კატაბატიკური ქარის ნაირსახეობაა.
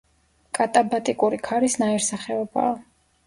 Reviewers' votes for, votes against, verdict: 1, 2, rejected